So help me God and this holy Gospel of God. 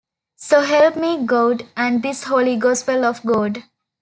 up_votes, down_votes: 2, 0